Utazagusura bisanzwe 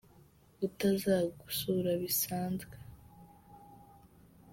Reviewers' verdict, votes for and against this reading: accepted, 2, 0